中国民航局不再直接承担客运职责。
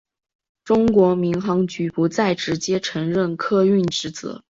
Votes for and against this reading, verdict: 2, 0, accepted